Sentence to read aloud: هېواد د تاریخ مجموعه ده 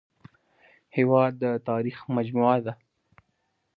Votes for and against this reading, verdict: 2, 0, accepted